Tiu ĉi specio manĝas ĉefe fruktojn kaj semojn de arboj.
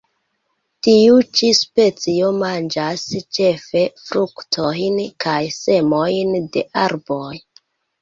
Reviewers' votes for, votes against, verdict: 2, 1, accepted